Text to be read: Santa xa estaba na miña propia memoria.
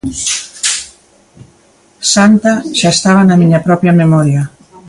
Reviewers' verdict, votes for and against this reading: accepted, 2, 1